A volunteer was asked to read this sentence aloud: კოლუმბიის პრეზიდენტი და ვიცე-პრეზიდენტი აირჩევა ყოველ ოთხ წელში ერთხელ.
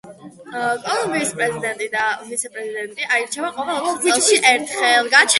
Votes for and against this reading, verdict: 1, 2, rejected